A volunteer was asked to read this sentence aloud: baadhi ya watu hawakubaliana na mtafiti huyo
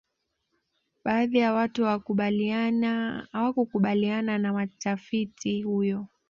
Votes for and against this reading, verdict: 2, 1, accepted